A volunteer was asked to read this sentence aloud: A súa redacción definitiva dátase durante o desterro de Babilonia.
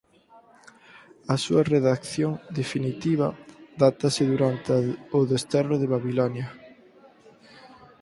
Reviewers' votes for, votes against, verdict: 0, 4, rejected